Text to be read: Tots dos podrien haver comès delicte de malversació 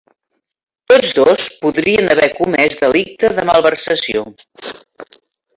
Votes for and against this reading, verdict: 2, 0, accepted